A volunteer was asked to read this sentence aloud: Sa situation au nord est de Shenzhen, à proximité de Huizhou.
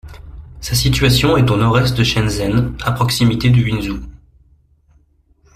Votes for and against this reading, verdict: 1, 2, rejected